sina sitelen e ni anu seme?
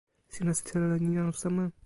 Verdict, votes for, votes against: rejected, 1, 2